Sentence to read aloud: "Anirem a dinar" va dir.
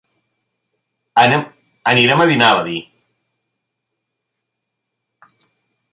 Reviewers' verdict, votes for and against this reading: rejected, 1, 2